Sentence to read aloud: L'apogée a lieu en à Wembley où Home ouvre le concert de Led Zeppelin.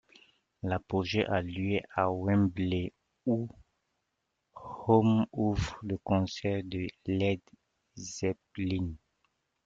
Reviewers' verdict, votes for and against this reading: rejected, 1, 2